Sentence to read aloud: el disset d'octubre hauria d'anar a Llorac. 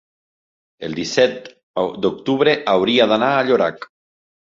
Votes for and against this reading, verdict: 1, 2, rejected